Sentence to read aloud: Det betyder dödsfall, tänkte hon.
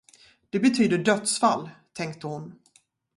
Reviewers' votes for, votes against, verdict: 0, 2, rejected